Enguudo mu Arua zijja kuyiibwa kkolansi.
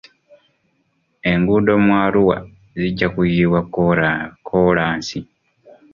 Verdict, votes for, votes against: rejected, 1, 2